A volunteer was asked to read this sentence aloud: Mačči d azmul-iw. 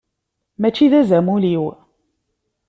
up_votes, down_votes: 1, 2